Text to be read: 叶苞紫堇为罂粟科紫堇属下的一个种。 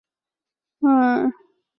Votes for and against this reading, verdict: 2, 6, rejected